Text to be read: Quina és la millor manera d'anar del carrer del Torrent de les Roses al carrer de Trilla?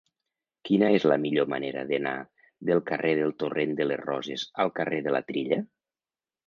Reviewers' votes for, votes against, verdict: 1, 2, rejected